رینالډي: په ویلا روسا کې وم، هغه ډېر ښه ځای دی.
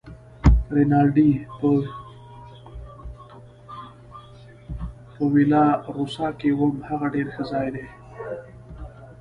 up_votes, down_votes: 1, 2